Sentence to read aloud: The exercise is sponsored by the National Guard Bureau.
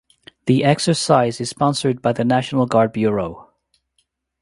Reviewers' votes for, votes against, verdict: 2, 0, accepted